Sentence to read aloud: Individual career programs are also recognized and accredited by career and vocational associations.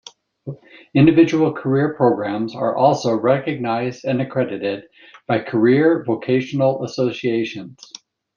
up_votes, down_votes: 0, 2